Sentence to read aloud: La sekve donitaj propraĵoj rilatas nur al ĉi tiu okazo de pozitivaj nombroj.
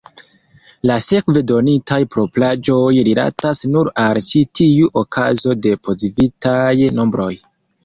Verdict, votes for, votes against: accepted, 2, 0